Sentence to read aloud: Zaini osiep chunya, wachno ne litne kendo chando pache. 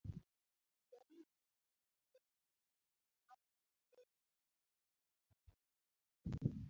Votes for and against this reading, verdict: 0, 2, rejected